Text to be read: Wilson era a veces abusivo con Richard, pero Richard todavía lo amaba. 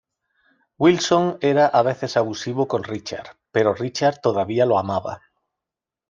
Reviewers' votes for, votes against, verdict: 2, 0, accepted